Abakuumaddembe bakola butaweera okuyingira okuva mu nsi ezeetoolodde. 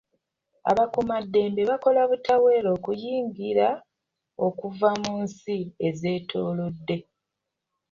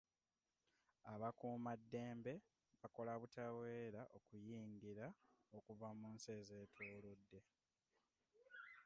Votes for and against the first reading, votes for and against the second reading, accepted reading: 2, 0, 0, 2, first